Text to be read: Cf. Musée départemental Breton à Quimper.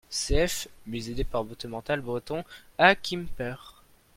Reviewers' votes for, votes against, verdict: 0, 2, rejected